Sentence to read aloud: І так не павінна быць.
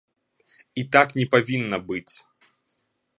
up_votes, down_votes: 2, 0